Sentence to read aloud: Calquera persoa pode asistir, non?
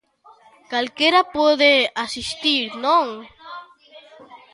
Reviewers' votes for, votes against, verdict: 0, 2, rejected